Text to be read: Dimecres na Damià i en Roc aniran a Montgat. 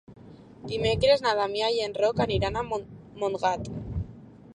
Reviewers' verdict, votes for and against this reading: rejected, 1, 2